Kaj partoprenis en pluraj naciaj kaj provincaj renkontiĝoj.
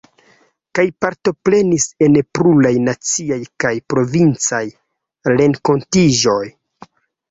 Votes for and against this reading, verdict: 2, 0, accepted